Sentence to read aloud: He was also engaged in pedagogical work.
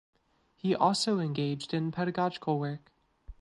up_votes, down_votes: 0, 2